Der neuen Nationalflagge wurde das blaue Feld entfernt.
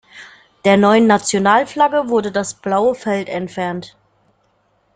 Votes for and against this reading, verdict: 2, 0, accepted